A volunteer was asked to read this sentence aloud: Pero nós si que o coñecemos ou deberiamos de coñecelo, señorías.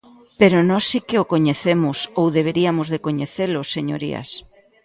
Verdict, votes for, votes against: rejected, 0, 2